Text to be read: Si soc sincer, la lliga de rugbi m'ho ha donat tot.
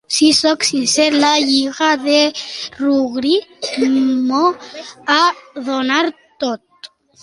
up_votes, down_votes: 0, 2